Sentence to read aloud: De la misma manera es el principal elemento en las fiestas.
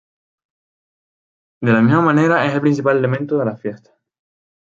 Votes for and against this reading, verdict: 0, 2, rejected